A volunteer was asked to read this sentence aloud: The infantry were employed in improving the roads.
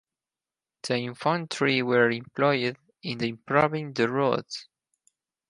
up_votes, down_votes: 0, 4